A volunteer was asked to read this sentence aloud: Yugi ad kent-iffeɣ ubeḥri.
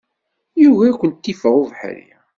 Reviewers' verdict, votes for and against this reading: accepted, 2, 0